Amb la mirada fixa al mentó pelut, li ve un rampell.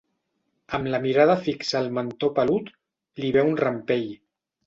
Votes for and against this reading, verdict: 4, 0, accepted